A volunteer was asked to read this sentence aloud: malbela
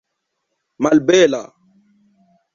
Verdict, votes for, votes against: accepted, 2, 0